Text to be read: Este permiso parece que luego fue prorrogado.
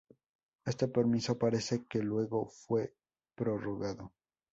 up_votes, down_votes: 0, 2